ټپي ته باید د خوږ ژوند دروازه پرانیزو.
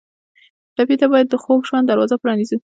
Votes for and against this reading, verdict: 2, 0, accepted